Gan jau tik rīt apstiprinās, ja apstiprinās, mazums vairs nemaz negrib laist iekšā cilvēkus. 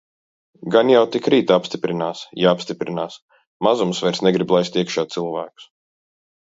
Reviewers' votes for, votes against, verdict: 1, 2, rejected